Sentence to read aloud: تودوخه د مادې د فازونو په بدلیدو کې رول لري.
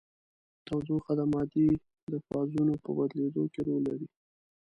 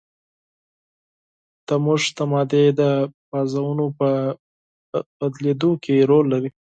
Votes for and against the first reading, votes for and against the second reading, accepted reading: 2, 0, 2, 4, first